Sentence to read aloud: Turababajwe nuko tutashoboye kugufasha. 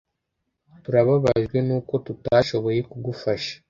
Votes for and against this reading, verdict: 2, 0, accepted